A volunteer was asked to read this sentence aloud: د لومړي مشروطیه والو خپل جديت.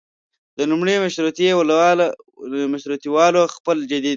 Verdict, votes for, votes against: rejected, 1, 2